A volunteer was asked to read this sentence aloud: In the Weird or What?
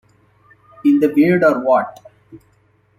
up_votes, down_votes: 2, 0